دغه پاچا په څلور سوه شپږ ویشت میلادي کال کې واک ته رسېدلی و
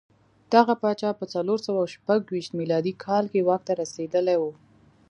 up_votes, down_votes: 2, 0